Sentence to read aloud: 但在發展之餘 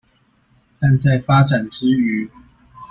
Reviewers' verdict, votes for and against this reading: accepted, 2, 0